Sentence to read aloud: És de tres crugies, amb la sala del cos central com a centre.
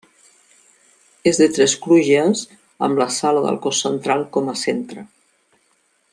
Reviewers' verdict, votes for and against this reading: accepted, 2, 1